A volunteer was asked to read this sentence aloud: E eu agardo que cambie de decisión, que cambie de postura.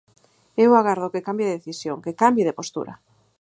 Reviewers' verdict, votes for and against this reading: accepted, 4, 0